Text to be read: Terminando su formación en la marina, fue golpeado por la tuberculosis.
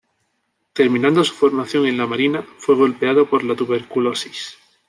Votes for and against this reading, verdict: 2, 0, accepted